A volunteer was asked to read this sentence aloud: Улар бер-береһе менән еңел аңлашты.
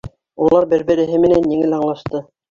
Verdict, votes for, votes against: rejected, 0, 2